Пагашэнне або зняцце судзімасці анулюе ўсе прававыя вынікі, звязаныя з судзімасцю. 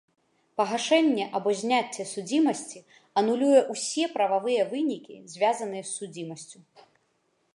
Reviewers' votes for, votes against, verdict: 2, 0, accepted